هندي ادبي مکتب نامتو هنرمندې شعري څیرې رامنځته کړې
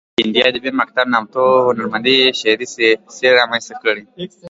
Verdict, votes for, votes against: rejected, 0, 2